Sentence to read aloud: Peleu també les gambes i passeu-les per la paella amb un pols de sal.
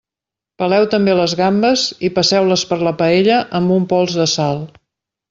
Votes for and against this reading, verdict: 2, 0, accepted